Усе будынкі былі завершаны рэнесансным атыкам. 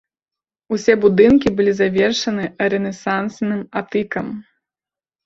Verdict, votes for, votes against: rejected, 0, 2